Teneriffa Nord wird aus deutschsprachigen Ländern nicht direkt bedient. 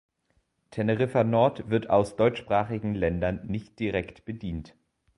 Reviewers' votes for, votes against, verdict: 2, 0, accepted